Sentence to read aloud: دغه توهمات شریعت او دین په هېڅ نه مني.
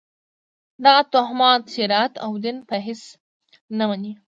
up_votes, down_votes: 2, 0